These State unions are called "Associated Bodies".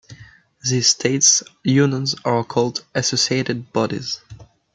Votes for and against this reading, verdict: 0, 2, rejected